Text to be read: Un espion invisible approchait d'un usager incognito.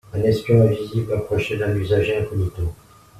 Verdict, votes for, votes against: accepted, 2, 0